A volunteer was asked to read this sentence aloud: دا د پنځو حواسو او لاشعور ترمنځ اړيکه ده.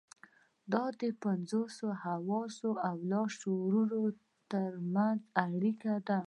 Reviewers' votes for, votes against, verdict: 0, 2, rejected